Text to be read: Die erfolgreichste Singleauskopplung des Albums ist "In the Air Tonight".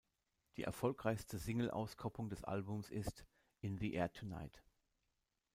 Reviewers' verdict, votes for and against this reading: accepted, 2, 0